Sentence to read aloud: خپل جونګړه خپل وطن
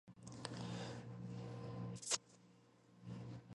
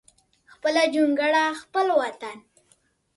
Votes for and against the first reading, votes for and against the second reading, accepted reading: 0, 2, 2, 0, second